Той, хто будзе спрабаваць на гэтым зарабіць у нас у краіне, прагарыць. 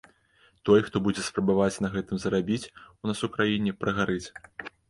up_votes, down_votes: 2, 0